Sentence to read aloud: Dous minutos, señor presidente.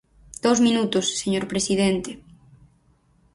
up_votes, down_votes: 0, 4